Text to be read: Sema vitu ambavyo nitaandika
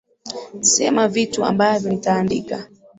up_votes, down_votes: 2, 0